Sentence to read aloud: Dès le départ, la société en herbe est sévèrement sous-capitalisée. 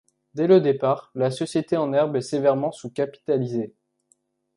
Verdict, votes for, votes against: accepted, 2, 0